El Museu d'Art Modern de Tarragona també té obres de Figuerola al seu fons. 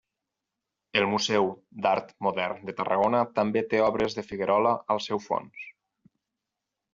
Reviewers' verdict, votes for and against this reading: accepted, 6, 0